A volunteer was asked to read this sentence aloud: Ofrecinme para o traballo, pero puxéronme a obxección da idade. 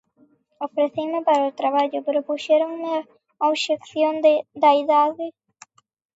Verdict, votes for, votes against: rejected, 0, 2